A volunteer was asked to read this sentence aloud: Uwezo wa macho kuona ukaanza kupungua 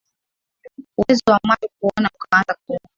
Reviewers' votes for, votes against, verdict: 0, 2, rejected